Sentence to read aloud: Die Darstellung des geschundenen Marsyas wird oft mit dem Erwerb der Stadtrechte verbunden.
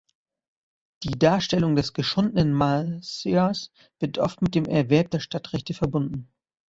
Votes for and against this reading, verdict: 1, 2, rejected